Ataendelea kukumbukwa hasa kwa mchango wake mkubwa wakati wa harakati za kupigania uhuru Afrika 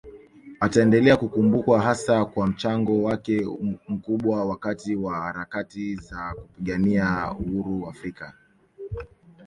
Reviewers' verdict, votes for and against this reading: accepted, 2, 1